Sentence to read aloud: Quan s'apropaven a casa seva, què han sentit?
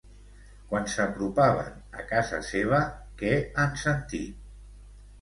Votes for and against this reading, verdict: 1, 2, rejected